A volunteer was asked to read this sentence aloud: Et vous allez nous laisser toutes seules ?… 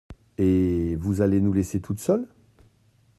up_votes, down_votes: 2, 0